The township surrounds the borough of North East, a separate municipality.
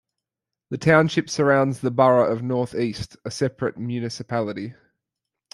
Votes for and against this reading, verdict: 2, 0, accepted